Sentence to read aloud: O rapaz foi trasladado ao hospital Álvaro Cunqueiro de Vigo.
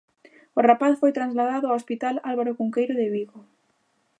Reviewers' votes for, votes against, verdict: 0, 2, rejected